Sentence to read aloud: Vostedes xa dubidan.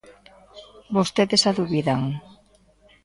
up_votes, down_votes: 2, 0